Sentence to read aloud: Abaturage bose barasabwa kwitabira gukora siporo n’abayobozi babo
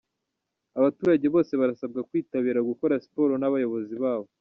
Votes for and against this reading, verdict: 0, 2, rejected